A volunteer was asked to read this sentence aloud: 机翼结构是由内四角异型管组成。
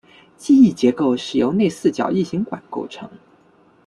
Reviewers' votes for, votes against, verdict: 1, 2, rejected